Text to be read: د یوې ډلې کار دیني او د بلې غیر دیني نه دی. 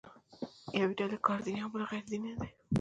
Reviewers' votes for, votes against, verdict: 1, 2, rejected